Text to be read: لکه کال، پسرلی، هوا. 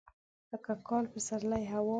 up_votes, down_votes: 2, 0